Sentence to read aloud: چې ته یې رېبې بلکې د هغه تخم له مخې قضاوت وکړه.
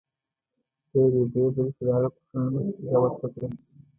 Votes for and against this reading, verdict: 1, 2, rejected